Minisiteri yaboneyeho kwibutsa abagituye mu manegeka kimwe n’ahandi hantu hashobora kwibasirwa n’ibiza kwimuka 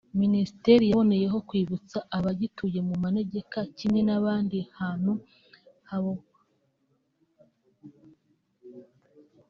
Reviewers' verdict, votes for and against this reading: rejected, 0, 2